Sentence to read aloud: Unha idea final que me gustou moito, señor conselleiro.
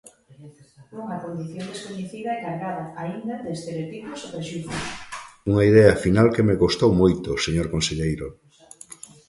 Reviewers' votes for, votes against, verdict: 0, 2, rejected